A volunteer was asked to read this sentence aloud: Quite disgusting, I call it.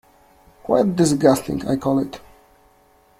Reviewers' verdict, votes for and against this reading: accepted, 2, 0